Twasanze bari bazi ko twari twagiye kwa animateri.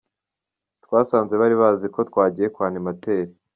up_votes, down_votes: 1, 2